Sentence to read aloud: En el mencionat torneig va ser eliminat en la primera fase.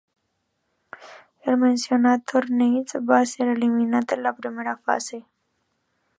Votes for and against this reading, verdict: 1, 2, rejected